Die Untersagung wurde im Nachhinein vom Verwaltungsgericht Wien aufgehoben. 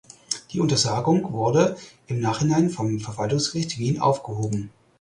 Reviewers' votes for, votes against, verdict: 4, 0, accepted